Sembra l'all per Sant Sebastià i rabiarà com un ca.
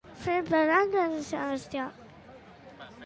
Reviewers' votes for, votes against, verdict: 1, 2, rejected